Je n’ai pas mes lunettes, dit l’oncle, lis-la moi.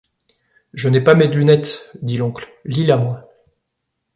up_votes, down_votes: 0, 2